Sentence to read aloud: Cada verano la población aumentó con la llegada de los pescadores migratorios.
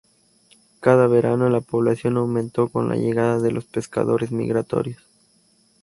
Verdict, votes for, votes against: accepted, 4, 0